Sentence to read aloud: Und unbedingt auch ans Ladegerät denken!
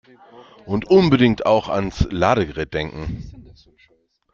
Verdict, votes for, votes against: accepted, 2, 0